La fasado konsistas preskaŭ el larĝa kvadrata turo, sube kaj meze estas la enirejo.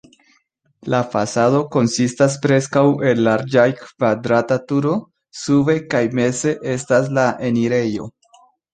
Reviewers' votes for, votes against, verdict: 4, 3, accepted